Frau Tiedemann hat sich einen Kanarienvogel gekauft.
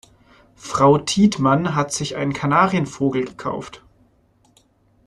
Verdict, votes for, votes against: rejected, 1, 2